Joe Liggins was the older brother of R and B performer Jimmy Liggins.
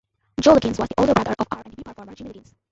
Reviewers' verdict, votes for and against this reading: rejected, 0, 2